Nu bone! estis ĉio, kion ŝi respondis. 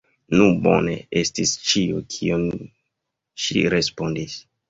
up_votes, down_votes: 1, 2